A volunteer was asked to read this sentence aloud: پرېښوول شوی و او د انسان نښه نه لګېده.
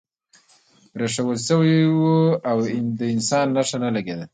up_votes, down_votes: 0, 2